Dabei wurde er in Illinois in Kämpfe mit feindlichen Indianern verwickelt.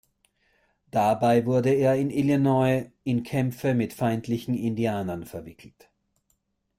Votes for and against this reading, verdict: 2, 0, accepted